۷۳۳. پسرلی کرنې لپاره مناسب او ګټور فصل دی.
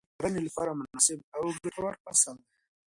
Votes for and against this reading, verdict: 0, 2, rejected